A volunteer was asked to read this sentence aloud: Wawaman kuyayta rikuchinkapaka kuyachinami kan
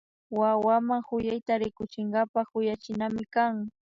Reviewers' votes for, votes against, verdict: 2, 0, accepted